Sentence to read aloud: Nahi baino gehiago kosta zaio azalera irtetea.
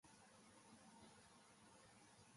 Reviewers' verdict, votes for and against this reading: rejected, 0, 6